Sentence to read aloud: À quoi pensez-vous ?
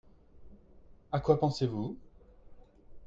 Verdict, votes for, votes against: accepted, 2, 0